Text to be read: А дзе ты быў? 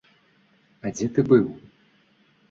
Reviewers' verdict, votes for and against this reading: accepted, 2, 0